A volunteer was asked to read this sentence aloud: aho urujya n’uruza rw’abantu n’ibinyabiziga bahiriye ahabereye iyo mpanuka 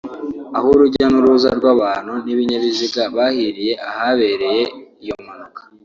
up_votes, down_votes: 3, 0